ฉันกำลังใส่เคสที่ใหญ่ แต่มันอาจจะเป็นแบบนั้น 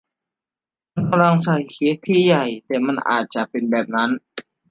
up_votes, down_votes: 0, 2